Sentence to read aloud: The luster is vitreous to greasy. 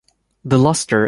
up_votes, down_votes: 0, 2